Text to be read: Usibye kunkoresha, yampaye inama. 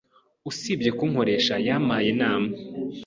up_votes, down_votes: 2, 0